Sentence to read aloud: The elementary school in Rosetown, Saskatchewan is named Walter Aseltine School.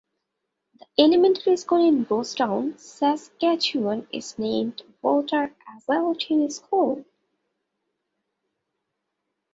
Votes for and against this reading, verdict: 2, 1, accepted